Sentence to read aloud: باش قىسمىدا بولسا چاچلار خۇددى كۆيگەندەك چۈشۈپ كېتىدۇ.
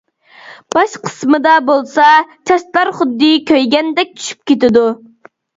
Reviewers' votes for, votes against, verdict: 2, 0, accepted